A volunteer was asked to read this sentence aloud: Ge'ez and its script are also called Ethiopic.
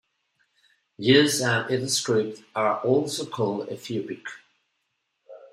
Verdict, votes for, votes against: rejected, 0, 2